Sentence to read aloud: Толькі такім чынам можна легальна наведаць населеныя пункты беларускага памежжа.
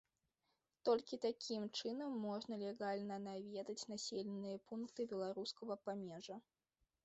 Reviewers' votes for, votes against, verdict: 2, 0, accepted